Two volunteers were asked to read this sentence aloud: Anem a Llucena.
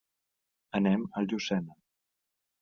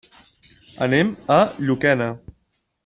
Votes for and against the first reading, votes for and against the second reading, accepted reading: 2, 0, 0, 2, first